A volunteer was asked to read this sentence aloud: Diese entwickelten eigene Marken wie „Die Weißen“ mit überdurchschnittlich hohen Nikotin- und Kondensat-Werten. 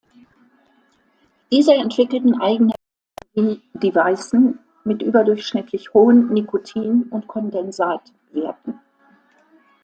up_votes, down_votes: 1, 2